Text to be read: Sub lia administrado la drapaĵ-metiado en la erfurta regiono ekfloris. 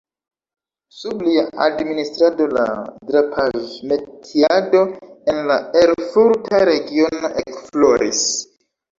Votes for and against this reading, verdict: 1, 2, rejected